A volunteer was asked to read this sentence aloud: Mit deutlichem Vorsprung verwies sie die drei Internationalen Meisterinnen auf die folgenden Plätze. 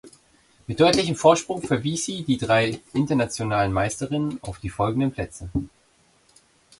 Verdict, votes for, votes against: accepted, 2, 0